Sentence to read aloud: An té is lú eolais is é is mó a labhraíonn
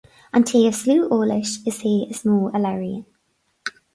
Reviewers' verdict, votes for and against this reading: accepted, 4, 0